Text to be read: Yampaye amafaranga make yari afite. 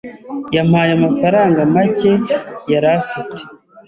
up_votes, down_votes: 2, 0